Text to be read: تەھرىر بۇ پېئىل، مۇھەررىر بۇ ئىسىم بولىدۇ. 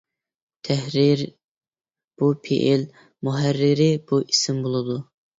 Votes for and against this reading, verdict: 2, 0, accepted